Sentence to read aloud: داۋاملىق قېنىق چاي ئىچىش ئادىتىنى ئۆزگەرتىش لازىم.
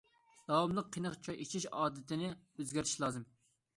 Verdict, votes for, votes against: accepted, 2, 0